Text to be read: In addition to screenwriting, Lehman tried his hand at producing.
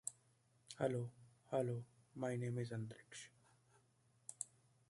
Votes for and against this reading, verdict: 0, 2, rejected